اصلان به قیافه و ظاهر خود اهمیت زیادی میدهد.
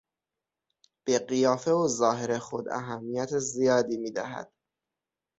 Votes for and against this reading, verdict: 0, 6, rejected